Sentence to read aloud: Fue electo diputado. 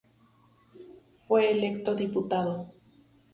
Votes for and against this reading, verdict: 0, 2, rejected